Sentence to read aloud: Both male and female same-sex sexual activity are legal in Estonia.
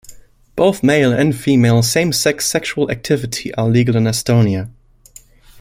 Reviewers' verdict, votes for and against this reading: accepted, 2, 0